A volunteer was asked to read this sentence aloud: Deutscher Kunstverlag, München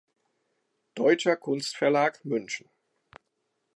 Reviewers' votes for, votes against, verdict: 2, 0, accepted